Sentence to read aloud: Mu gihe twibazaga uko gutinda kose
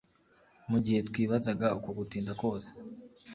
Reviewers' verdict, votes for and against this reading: accepted, 2, 0